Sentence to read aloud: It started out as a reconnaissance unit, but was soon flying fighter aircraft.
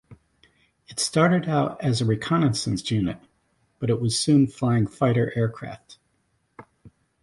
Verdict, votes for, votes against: rejected, 0, 2